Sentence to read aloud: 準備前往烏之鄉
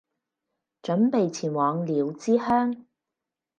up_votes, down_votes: 0, 2